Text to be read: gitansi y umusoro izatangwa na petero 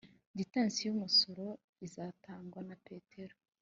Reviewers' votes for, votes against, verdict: 2, 0, accepted